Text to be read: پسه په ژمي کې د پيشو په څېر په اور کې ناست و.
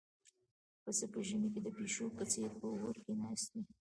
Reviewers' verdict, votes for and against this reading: accepted, 2, 0